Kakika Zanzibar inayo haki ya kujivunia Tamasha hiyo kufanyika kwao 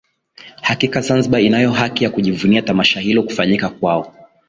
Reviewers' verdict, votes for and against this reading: rejected, 0, 2